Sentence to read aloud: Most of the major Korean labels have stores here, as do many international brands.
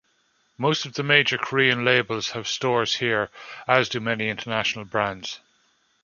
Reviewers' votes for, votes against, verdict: 2, 0, accepted